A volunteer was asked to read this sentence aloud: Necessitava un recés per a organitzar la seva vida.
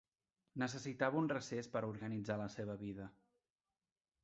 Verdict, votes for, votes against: rejected, 1, 2